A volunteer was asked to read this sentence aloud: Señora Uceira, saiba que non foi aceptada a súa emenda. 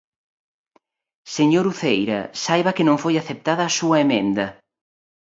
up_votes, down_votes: 1, 2